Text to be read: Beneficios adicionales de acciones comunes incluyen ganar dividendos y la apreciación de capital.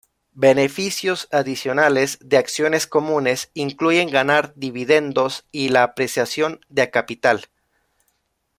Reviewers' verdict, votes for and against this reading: rejected, 1, 2